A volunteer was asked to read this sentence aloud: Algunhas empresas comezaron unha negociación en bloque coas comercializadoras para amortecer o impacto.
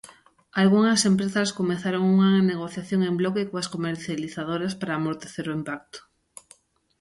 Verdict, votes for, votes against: rejected, 0, 2